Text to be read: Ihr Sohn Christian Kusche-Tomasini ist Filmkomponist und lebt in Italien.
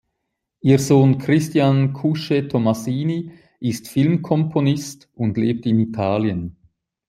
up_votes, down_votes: 2, 0